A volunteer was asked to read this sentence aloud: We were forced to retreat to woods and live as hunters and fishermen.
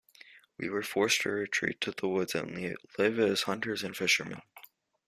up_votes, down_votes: 1, 2